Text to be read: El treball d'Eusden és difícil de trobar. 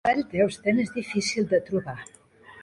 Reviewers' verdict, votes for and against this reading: rejected, 1, 2